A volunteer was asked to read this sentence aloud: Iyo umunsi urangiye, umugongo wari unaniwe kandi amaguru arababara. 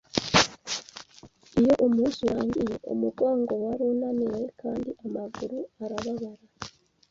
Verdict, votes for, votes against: accepted, 2, 0